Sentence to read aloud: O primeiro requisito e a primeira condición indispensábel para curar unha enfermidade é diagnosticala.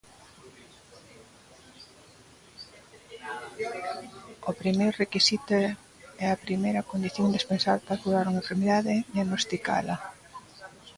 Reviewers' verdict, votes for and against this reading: rejected, 0, 2